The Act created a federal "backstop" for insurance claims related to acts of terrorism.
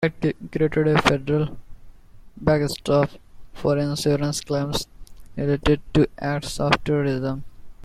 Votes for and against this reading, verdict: 2, 1, accepted